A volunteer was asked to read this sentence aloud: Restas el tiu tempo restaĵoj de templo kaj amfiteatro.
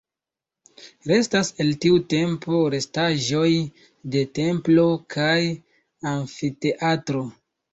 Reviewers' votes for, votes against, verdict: 2, 0, accepted